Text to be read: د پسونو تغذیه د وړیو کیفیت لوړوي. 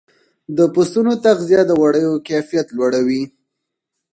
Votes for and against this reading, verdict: 2, 4, rejected